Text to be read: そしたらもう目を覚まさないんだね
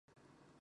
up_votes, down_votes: 0, 4